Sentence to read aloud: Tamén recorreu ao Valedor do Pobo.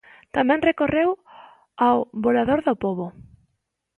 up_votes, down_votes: 0, 2